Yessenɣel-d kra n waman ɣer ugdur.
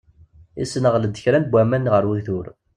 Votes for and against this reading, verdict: 2, 0, accepted